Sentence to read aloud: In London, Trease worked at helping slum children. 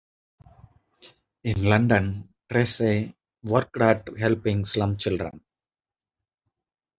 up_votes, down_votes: 1, 2